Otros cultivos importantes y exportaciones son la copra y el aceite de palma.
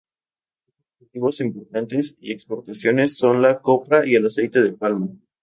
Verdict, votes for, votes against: rejected, 0, 4